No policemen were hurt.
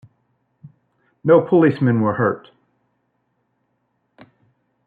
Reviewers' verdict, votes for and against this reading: rejected, 0, 2